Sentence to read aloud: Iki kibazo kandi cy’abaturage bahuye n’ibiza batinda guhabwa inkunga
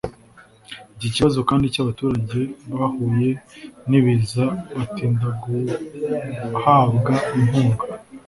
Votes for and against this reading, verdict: 2, 0, accepted